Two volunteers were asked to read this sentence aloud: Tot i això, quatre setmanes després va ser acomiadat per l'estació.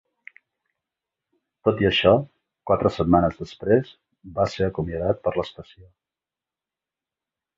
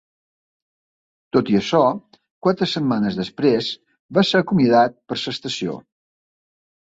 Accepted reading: first